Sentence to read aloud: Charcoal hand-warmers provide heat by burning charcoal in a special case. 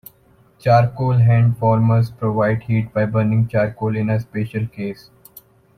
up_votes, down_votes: 2, 0